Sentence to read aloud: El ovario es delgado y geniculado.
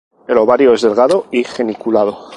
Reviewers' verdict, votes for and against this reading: accepted, 2, 0